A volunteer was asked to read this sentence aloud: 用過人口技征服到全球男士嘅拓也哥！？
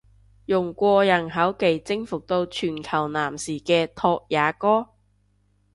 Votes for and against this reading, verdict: 2, 0, accepted